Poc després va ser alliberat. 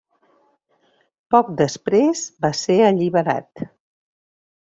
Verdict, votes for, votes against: accepted, 3, 0